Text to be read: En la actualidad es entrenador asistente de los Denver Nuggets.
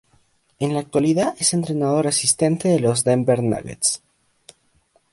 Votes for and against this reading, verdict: 2, 0, accepted